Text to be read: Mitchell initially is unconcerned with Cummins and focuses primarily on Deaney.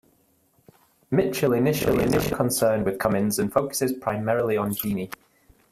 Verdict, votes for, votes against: rejected, 0, 2